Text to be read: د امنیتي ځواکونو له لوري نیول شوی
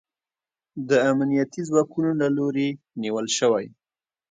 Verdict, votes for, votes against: accepted, 3, 0